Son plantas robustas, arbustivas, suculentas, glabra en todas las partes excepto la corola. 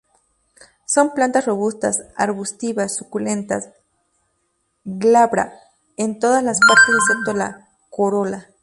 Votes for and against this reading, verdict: 2, 2, rejected